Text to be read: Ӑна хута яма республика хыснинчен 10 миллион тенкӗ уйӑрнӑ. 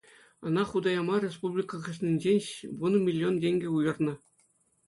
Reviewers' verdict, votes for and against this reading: rejected, 0, 2